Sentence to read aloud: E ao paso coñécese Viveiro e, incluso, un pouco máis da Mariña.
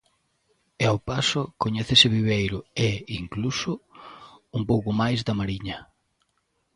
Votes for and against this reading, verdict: 2, 0, accepted